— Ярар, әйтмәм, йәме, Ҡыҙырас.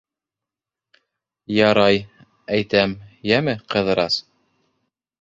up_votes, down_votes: 0, 2